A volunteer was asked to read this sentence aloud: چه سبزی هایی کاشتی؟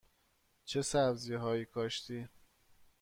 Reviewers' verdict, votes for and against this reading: accepted, 2, 1